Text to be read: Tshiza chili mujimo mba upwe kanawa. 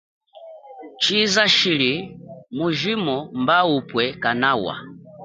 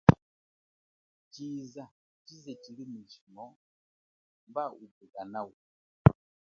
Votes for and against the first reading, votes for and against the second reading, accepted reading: 2, 1, 1, 2, first